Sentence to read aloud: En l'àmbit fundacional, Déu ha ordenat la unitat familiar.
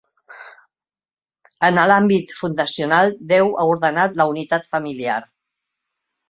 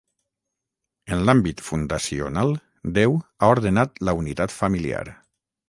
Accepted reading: first